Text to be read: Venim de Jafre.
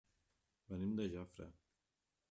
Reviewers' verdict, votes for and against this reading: rejected, 0, 2